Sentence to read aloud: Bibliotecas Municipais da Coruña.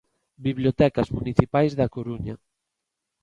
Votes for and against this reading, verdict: 2, 0, accepted